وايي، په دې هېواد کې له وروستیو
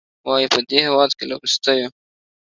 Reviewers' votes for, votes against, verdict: 2, 0, accepted